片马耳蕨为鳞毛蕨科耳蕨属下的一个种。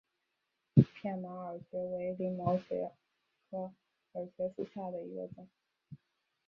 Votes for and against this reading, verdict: 2, 5, rejected